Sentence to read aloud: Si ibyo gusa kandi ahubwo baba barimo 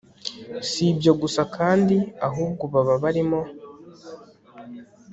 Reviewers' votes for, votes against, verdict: 2, 0, accepted